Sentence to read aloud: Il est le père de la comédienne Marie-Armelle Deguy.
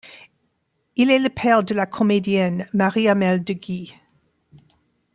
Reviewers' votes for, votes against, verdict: 0, 2, rejected